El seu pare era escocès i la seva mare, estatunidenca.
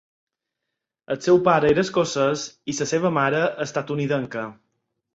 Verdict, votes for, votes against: rejected, 0, 4